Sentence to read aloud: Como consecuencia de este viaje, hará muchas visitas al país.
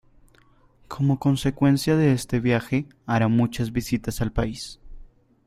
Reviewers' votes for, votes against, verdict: 0, 2, rejected